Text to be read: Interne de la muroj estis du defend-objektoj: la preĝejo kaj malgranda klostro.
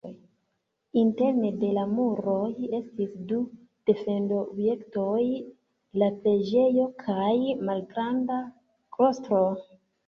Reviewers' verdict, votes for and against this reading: accepted, 3, 2